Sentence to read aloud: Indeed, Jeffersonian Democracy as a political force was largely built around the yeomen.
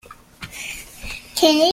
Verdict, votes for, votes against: rejected, 0, 2